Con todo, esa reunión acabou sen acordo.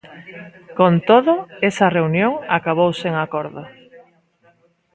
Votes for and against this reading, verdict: 2, 0, accepted